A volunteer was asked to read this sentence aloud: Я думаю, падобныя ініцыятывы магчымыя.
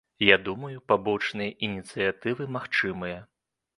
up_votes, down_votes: 1, 2